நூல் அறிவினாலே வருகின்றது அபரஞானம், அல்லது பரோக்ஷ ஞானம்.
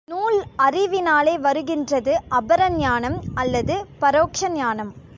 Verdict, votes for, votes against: accepted, 2, 0